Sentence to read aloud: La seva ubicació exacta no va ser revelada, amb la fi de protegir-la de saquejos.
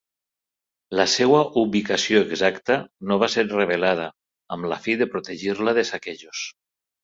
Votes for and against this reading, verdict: 3, 1, accepted